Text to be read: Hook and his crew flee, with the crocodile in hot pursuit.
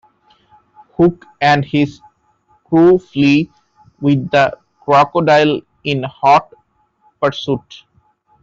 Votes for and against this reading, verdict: 1, 2, rejected